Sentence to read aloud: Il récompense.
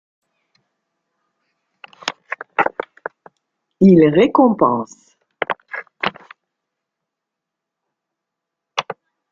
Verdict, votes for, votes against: rejected, 0, 2